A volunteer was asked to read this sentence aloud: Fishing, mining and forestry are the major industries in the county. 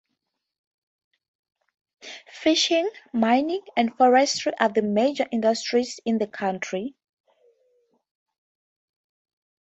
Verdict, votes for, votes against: accepted, 2, 0